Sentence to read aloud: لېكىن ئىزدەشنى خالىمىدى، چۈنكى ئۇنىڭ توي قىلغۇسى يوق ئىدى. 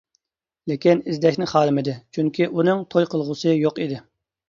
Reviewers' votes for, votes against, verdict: 2, 0, accepted